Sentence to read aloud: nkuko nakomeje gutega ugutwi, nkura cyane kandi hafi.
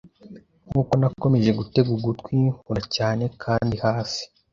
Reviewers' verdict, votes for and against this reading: accepted, 2, 1